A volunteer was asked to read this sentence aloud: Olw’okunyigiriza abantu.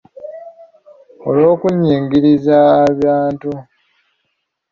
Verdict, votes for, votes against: rejected, 0, 2